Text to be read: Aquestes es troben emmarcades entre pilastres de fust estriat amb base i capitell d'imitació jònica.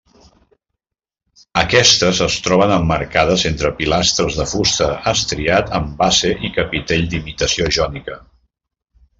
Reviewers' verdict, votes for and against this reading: rejected, 1, 2